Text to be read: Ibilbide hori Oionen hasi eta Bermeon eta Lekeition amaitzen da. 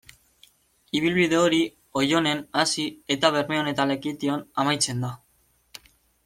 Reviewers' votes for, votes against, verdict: 1, 2, rejected